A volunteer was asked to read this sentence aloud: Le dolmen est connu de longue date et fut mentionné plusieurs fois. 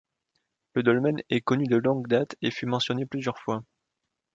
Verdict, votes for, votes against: accepted, 2, 0